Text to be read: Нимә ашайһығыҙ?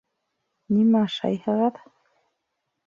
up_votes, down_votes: 1, 2